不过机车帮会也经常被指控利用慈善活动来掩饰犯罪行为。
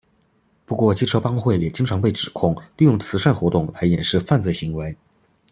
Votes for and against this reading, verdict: 2, 0, accepted